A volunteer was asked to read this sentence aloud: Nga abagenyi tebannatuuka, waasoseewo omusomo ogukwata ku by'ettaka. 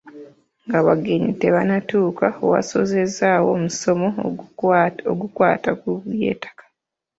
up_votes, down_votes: 1, 2